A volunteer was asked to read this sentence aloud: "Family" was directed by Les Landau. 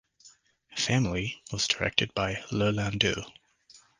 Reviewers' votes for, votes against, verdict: 1, 2, rejected